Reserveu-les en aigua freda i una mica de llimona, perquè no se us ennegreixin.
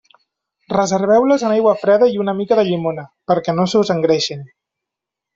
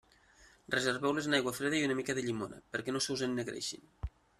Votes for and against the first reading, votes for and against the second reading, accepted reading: 1, 2, 2, 0, second